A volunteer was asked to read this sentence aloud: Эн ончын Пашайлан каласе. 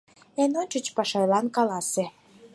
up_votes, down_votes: 4, 0